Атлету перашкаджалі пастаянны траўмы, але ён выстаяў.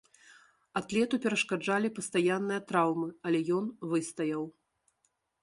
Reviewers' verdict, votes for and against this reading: rejected, 0, 2